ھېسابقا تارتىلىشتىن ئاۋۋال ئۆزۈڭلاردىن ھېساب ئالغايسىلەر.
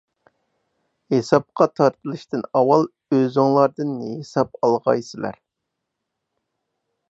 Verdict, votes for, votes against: accepted, 4, 0